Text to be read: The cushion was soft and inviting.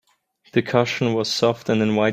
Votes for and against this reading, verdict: 0, 2, rejected